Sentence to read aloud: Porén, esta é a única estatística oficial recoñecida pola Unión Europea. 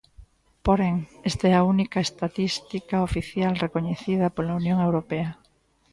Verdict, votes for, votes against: accepted, 2, 0